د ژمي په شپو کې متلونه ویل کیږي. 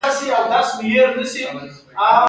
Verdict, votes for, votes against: accepted, 2, 0